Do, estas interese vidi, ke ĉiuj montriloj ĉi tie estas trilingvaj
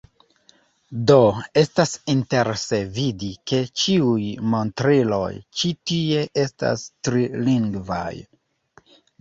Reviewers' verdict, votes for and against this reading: accepted, 2, 0